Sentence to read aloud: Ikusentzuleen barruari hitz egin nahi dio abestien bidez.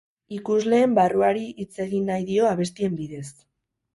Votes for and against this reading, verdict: 0, 4, rejected